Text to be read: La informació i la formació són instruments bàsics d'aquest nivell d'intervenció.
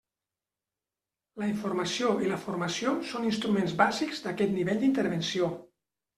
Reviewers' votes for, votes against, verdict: 3, 0, accepted